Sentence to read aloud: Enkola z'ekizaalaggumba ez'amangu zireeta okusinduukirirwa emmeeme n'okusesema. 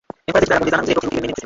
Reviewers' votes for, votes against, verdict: 0, 2, rejected